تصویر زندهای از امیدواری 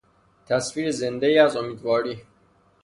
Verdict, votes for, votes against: rejected, 0, 3